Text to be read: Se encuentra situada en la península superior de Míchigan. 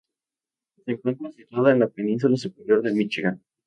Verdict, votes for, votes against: rejected, 0, 2